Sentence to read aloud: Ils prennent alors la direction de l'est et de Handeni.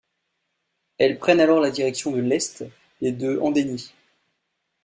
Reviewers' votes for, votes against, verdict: 2, 0, accepted